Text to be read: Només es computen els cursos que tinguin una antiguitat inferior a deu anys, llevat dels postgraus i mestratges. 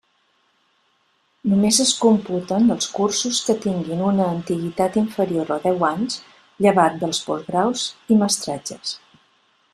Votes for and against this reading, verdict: 2, 0, accepted